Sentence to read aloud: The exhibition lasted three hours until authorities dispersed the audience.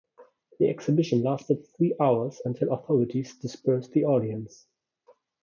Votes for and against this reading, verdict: 2, 1, accepted